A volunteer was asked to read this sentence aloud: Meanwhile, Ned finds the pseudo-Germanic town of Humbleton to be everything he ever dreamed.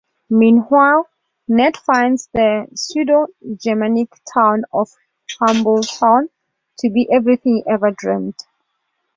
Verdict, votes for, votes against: rejected, 0, 2